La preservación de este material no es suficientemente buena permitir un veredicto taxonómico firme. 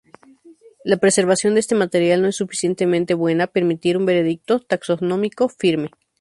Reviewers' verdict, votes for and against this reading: accepted, 2, 0